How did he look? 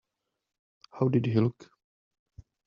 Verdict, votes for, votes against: rejected, 0, 2